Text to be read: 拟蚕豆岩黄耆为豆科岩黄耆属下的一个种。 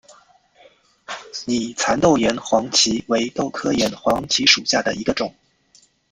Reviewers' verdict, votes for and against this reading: accepted, 2, 0